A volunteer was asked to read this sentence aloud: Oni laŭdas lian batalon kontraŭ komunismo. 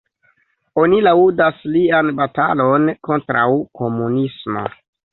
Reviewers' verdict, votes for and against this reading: accepted, 2, 0